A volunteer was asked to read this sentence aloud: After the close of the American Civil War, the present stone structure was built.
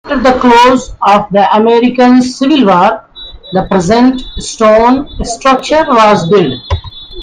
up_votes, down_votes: 0, 2